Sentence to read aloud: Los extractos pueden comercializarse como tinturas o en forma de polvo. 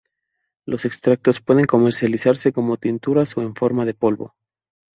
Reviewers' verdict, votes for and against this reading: accepted, 2, 0